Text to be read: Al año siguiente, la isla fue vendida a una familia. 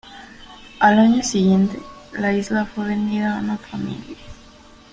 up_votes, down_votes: 3, 1